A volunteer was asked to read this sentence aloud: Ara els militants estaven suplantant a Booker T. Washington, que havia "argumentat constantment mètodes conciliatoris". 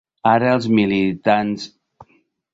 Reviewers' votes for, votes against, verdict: 1, 2, rejected